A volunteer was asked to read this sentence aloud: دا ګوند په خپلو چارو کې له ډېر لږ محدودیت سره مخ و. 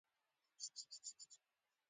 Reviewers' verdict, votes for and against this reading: rejected, 1, 2